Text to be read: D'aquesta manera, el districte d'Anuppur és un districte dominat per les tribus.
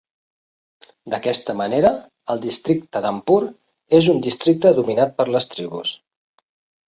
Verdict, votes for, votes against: accepted, 2, 0